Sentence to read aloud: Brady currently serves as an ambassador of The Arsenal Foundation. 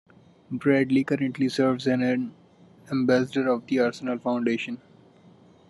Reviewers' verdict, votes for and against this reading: rejected, 0, 2